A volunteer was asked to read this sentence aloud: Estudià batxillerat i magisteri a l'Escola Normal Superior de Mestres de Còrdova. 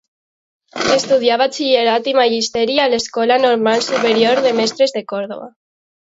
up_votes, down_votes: 1, 2